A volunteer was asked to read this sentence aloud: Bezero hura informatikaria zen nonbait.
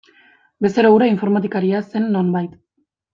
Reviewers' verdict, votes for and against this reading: accepted, 2, 0